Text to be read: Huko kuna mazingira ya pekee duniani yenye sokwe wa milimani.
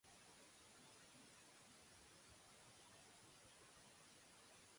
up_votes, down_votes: 0, 2